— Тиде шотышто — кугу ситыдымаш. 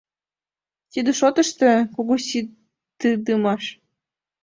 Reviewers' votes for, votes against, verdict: 1, 2, rejected